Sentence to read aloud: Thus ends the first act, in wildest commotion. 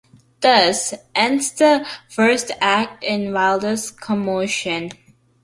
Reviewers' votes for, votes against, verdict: 2, 0, accepted